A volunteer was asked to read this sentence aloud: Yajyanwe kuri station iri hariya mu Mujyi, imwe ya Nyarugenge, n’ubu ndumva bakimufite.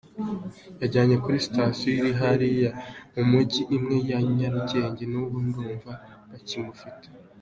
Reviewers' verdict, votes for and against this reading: accepted, 2, 1